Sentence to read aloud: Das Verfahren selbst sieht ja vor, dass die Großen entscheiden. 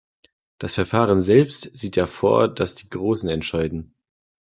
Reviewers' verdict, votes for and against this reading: accepted, 2, 0